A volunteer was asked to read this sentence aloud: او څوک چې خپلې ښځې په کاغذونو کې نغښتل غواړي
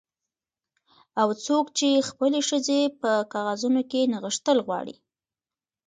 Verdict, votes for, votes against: rejected, 0, 2